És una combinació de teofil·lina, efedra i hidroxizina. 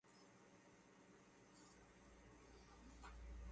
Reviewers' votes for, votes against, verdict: 0, 2, rejected